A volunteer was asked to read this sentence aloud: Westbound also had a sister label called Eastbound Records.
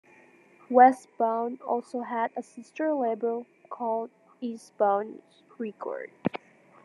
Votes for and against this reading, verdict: 2, 1, accepted